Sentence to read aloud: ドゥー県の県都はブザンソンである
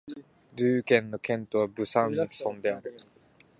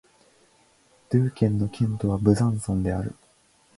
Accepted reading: second